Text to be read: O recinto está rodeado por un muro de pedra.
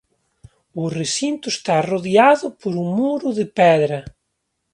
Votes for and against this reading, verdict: 2, 0, accepted